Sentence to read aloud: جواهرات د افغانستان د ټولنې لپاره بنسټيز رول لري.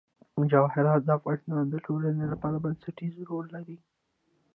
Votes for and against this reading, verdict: 2, 1, accepted